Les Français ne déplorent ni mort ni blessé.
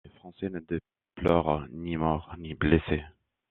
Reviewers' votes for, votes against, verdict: 0, 2, rejected